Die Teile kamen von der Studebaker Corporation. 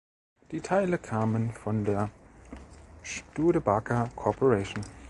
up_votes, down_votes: 1, 2